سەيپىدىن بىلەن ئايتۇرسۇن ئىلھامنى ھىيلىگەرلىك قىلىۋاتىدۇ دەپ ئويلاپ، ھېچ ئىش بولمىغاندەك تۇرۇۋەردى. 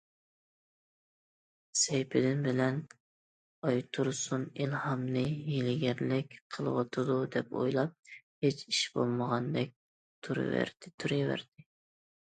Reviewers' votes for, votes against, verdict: 0, 2, rejected